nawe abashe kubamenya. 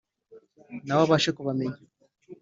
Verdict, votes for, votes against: accepted, 3, 0